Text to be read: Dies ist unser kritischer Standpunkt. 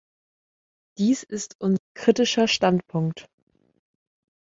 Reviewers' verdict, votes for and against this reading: rejected, 1, 2